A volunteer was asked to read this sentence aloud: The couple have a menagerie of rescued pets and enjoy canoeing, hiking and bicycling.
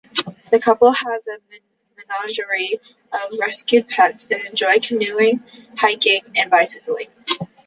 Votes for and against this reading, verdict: 0, 3, rejected